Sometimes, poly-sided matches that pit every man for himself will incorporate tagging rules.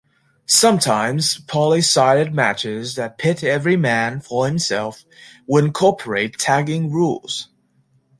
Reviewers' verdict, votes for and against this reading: accepted, 2, 0